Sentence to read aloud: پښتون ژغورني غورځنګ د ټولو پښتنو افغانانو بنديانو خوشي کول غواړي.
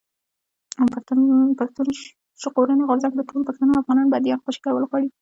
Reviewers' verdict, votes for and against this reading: rejected, 0, 2